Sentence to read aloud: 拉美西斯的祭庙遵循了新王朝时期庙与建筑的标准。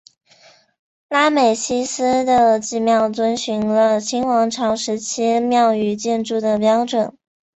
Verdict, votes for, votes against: accepted, 3, 0